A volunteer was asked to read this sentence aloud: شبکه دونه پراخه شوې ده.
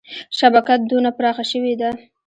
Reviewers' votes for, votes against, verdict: 1, 2, rejected